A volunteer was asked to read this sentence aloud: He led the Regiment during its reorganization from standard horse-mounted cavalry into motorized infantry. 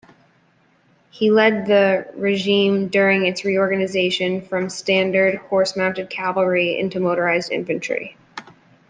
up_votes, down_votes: 0, 2